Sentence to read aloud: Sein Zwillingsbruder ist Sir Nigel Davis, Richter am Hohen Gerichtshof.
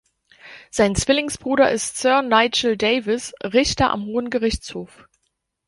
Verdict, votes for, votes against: accepted, 2, 0